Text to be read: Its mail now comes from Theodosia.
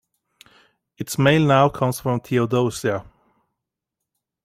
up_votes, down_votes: 2, 0